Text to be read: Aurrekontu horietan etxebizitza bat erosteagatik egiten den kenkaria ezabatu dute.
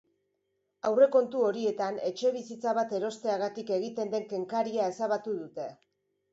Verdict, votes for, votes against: accepted, 2, 0